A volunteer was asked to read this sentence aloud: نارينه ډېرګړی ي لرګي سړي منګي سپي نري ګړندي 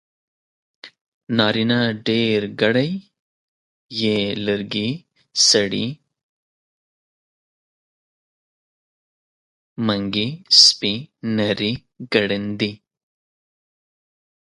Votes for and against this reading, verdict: 1, 3, rejected